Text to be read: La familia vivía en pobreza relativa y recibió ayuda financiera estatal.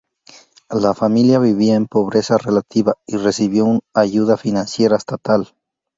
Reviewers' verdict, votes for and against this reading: rejected, 0, 2